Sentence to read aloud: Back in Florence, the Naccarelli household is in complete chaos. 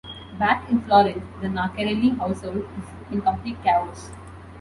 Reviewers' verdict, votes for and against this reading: accepted, 2, 0